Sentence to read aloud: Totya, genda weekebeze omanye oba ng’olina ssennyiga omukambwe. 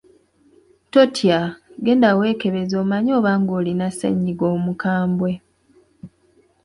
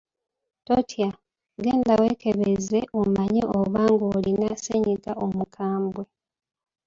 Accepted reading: first